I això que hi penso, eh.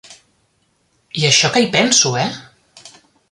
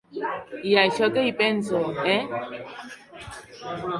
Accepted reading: first